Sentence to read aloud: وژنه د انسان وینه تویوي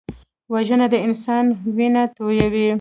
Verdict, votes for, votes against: accepted, 2, 0